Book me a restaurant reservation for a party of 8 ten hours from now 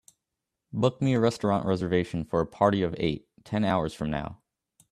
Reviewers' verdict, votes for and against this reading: rejected, 0, 2